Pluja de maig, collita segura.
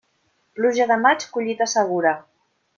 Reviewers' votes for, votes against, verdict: 3, 0, accepted